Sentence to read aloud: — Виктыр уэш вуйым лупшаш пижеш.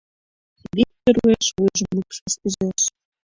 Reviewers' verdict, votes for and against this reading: rejected, 1, 2